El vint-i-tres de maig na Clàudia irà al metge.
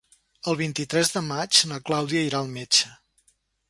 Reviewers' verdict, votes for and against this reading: accepted, 3, 0